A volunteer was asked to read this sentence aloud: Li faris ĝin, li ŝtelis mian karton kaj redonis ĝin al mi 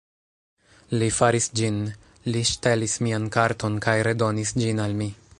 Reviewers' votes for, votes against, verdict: 2, 1, accepted